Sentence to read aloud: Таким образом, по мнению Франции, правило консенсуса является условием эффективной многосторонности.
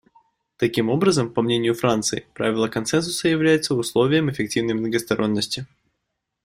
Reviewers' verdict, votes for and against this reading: accepted, 2, 0